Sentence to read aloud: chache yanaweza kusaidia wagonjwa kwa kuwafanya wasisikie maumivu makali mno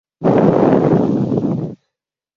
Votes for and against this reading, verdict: 0, 2, rejected